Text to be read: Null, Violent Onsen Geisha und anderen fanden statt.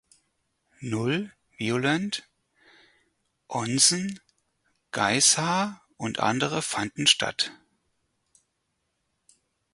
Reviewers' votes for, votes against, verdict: 0, 4, rejected